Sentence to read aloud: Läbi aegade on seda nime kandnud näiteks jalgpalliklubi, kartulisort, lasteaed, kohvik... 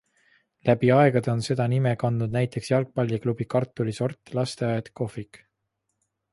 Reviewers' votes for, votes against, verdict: 2, 0, accepted